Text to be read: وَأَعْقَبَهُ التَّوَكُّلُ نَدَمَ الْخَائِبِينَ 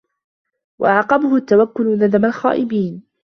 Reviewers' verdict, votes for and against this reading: accepted, 2, 0